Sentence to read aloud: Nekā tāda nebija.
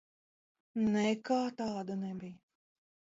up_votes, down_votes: 1, 2